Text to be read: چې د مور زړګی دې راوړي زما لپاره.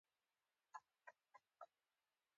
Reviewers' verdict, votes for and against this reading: rejected, 1, 2